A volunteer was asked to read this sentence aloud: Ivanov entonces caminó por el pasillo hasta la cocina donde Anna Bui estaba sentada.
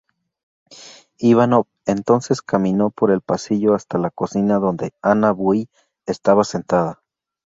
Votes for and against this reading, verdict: 2, 0, accepted